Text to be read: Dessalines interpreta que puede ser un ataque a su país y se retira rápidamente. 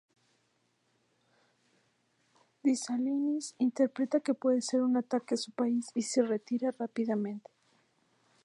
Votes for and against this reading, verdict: 0, 2, rejected